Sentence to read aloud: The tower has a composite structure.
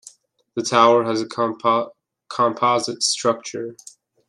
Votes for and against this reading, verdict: 0, 2, rejected